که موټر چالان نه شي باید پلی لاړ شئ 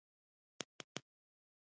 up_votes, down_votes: 1, 2